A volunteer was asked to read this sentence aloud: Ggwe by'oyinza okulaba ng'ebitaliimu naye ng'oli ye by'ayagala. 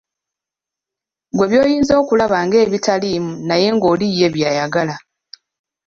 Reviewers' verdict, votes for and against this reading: accepted, 2, 0